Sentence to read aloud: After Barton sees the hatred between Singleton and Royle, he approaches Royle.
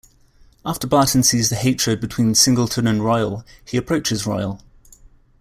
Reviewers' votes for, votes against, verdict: 2, 0, accepted